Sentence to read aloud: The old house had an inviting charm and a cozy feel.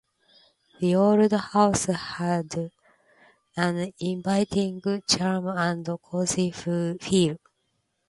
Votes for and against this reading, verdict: 1, 2, rejected